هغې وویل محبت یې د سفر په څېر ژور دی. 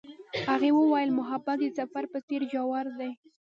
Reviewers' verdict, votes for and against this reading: rejected, 1, 2